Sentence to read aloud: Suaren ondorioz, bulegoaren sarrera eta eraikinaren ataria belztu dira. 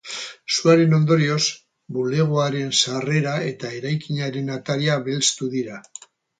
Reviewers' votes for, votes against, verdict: 2, 2, rejected